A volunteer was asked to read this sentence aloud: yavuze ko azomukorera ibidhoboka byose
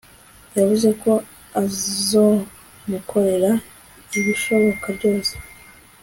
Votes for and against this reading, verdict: 2, 0, accepted